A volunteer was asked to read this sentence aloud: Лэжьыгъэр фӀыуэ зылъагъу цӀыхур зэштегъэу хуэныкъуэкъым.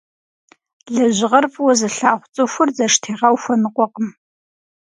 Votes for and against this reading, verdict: 4, 0, accepted